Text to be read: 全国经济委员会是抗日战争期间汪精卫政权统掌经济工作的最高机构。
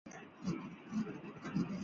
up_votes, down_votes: 0, 2